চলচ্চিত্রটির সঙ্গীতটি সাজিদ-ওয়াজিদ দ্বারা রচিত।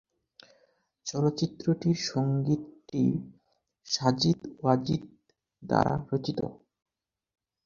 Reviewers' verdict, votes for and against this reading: accepted, 8, 0